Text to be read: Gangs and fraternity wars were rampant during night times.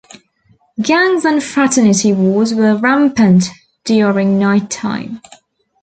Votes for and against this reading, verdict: 0, 2, rejected